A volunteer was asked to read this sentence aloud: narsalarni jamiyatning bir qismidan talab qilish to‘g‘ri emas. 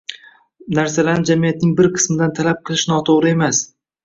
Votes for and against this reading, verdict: 1, 2, rejected